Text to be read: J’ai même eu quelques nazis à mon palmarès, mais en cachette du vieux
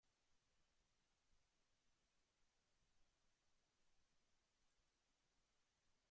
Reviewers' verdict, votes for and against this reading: rejected, 0, 2